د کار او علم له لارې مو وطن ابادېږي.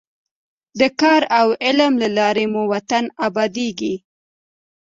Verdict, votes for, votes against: accepted, 2, 0